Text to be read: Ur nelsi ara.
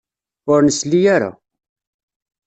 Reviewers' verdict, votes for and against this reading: rejected, 1, 2